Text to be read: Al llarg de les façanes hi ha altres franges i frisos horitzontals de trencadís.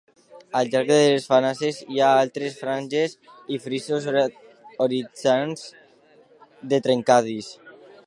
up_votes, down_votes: 1, 2